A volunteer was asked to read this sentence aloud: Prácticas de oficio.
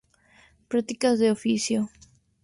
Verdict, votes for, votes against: accepted, 2, 0